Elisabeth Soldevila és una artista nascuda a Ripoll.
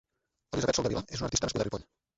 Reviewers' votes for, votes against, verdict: 0, 2, rejected